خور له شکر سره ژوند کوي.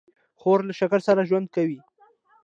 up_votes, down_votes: 2, 0